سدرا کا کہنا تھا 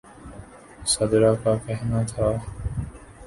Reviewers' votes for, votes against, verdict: 2, 0, accepted